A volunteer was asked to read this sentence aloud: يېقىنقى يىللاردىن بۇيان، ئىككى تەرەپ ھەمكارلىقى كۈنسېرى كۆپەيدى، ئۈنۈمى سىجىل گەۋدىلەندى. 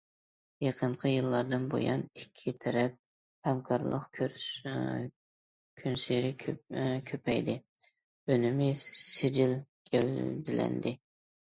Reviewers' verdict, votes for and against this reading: rejected, 0, 2